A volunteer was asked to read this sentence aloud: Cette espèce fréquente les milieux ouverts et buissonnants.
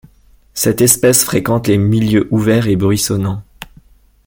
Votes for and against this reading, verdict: 1, 2, rejected